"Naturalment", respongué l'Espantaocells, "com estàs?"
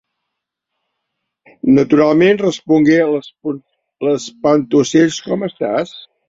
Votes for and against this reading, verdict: 0, 2, rejected